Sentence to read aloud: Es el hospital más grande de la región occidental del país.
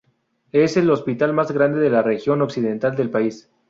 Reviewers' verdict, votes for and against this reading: accepted, 2, 0